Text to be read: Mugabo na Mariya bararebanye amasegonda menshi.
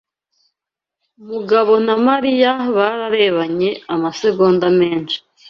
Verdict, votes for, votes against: accepted, 2, 0